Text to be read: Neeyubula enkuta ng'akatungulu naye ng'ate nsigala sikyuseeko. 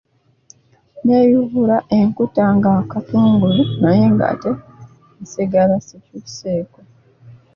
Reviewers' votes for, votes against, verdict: 0, 2, rejected